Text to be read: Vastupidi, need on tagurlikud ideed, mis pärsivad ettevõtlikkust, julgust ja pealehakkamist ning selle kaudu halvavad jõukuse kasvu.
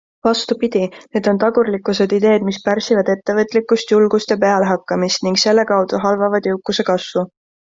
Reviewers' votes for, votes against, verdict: 0, 2, rejected